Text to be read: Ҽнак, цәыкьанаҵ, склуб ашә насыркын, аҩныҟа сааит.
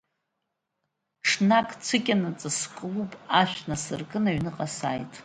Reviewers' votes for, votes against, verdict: 2, 1, accepted